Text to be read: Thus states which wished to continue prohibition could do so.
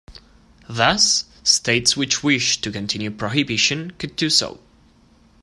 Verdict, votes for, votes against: accepted, 2, 1